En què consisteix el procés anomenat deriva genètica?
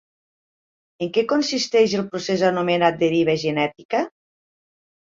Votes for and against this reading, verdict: 3, 1, accepted